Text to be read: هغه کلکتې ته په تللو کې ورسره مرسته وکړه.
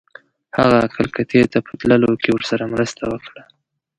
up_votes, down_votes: 1, 2